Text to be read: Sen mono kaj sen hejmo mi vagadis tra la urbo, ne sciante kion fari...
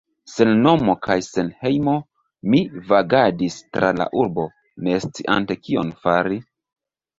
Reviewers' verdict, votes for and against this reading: rejected, 1, 2